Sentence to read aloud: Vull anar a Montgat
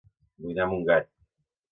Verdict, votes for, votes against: rejected, 1, 2